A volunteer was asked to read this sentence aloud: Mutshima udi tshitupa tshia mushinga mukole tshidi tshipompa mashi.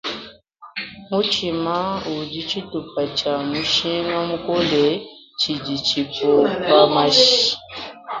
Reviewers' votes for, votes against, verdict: 2, 1, accepted